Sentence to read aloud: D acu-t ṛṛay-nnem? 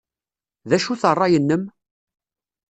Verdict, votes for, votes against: rejected, 1, 2